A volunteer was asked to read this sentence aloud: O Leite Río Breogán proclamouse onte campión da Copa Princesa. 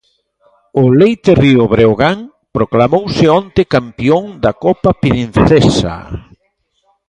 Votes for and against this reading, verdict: 2, 0, accepted